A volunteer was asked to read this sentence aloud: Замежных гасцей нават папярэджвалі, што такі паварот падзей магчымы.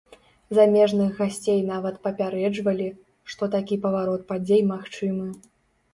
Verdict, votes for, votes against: accepted, 2, 0